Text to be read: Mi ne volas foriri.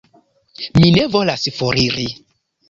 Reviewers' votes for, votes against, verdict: 0, 2, rejected